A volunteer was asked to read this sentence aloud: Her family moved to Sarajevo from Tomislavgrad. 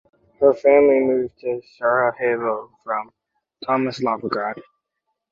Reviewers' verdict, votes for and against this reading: accepted, 2, 0